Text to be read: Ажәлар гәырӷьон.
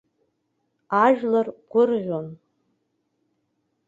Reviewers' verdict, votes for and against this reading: accepted, 2, 0